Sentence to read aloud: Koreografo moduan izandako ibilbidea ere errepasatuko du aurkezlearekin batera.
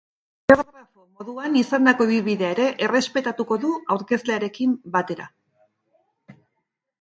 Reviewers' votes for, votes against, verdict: 0, 3, rejected